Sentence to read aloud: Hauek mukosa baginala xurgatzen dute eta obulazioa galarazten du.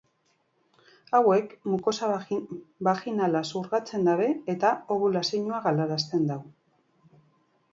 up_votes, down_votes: 0, 2